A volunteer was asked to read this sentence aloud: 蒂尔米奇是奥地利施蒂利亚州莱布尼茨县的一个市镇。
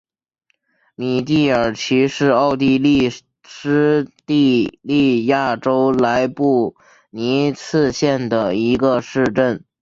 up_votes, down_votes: 0, 2